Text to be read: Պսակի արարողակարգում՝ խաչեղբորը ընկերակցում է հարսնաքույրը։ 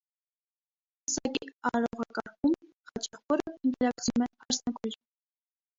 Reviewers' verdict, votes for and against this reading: rejected, 0, 2